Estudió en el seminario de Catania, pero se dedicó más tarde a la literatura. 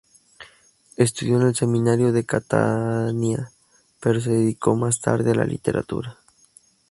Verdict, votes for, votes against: accepted, 4, 0